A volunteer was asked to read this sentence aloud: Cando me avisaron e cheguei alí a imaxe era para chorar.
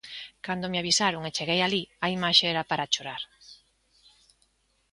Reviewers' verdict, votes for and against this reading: accepted, 2, 0